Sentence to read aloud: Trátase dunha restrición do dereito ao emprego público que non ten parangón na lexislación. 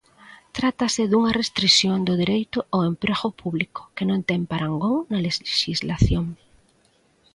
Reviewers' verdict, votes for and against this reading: rejected, 0, 2